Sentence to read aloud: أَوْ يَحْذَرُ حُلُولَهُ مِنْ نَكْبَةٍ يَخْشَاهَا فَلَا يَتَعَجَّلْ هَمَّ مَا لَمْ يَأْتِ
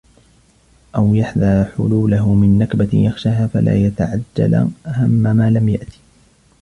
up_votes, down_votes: 1, 2